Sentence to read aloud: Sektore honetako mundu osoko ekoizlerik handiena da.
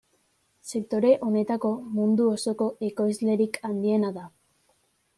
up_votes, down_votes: 2, 0